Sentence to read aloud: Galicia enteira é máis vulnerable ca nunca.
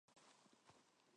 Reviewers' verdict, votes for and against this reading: rejected, 0, 4